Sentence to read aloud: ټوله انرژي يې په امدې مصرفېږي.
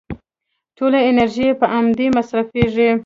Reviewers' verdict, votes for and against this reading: accepted, 2, 1